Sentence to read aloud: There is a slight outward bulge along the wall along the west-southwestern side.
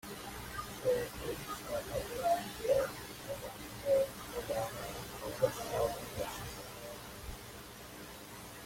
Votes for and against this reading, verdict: 0, 2, rejected